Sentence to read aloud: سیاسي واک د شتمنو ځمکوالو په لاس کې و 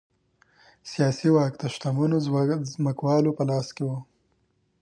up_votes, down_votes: 3, 0